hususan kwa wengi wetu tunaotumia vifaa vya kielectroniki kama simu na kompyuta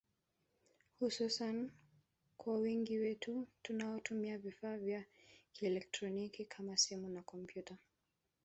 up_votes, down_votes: 2, 1